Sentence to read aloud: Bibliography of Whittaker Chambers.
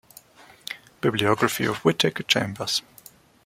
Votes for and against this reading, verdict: 2, 0, accepted